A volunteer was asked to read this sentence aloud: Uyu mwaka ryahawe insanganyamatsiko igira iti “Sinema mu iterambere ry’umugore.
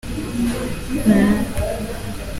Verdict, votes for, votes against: rejected, 0, 2